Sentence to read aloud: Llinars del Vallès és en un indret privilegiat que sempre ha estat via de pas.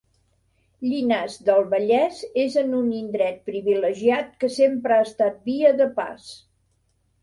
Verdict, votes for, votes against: accepted, 3, 0